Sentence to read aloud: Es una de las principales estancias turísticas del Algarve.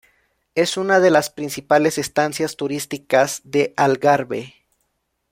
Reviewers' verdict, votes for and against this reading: rejected, 1, 2